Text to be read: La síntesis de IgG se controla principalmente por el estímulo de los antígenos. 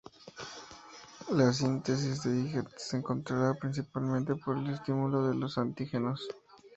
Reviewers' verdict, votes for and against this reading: accepted, 2, 0